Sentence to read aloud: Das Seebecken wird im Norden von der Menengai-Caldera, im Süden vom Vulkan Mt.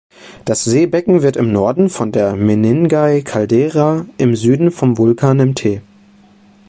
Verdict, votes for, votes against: accepted, 2, 0